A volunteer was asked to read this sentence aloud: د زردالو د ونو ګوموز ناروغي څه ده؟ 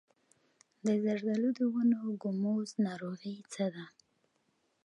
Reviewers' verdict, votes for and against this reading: accepted, 2, 0